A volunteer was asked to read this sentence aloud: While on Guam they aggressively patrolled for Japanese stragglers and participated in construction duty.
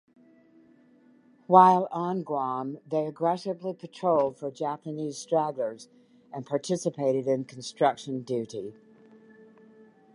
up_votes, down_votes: 0, 2